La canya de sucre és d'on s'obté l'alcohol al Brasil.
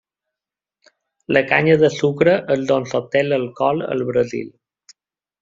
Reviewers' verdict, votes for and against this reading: accepted, 2, 0